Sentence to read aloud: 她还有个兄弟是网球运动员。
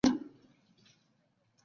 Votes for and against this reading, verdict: 0, 2, rejected